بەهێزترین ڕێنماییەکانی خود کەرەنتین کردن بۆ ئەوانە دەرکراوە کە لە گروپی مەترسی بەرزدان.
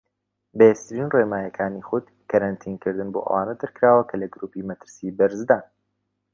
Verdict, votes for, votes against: accepted, 2, 0